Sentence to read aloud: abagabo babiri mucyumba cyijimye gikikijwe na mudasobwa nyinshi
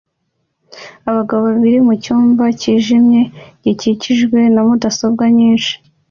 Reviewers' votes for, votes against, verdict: 2, 0, accepted